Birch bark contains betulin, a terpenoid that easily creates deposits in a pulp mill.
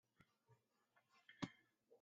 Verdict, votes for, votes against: rejected, 0, 2